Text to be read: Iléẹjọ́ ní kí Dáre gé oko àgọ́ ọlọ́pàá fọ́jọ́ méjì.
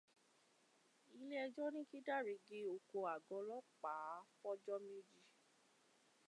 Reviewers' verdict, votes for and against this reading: accepted, 2, 0